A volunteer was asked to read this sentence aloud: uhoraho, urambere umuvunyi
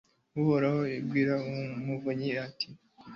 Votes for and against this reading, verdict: 1, 2, rejected